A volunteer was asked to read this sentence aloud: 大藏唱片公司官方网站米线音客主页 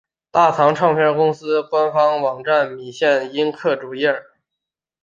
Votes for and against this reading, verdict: 4, 0, accepted